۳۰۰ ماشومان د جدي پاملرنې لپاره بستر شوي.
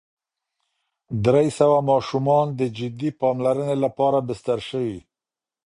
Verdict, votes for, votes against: rejected, 0, 2